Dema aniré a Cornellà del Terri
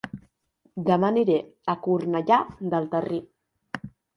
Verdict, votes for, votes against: rejected, 1, 2